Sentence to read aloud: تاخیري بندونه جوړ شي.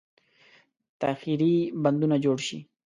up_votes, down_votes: 3, 0